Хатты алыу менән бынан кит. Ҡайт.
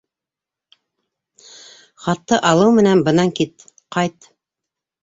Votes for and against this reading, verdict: 2, 0, accepted